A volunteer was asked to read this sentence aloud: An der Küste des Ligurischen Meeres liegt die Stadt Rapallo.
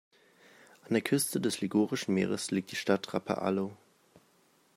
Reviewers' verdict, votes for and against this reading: rejected, 0, 2